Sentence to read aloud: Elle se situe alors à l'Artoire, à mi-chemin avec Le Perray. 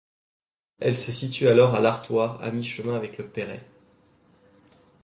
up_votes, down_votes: 2, 0